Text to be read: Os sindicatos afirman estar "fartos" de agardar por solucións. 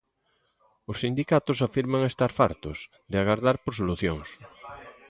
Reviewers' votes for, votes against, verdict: 2, 0, accepted